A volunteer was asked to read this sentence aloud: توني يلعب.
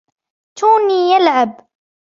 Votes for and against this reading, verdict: 2, 0, accepted